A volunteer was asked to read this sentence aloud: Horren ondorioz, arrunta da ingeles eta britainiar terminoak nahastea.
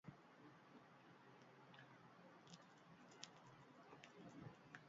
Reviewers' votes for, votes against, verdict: 0, 2, rejected